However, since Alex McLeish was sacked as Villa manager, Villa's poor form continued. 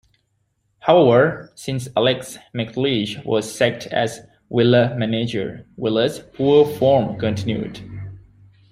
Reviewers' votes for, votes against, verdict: 0, 3, rejected